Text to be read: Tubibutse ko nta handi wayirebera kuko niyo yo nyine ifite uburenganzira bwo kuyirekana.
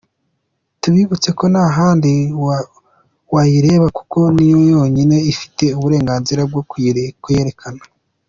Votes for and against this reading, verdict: 2, 0, accepted